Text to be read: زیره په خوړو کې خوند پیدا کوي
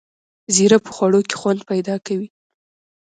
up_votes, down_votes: 2, 0